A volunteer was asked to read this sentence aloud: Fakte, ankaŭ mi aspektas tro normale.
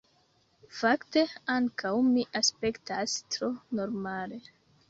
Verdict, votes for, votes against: accepted, 2, 0